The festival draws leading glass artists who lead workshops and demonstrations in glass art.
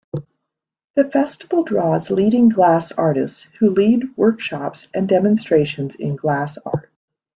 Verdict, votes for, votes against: accepted, 2, 0